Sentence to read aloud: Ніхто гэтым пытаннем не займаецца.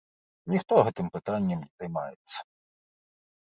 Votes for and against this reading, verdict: 0, 2, rejected